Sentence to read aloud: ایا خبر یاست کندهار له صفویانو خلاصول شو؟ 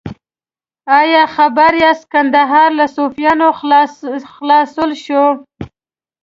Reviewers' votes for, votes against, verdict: 1, 2, rejected